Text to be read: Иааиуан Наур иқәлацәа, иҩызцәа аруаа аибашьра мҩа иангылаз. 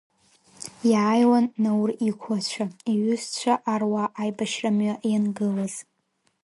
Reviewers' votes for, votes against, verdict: 2, 0, accepted